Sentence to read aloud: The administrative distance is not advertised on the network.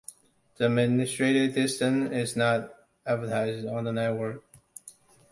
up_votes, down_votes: 0, 2